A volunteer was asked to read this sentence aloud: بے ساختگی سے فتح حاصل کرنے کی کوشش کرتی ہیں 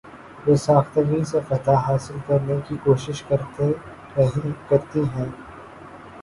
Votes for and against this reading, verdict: 2, 5, rejected